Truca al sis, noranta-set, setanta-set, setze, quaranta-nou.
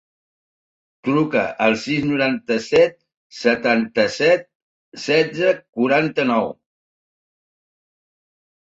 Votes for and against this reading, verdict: 3, 1, accepted